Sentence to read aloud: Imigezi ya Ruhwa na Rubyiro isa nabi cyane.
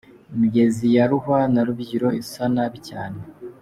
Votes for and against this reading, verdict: 2, 1, accepted